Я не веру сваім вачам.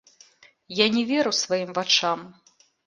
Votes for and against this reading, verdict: 1, 2, rejected